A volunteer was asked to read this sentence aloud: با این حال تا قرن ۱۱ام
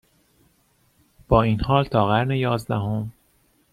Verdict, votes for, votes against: rejected, 0, 2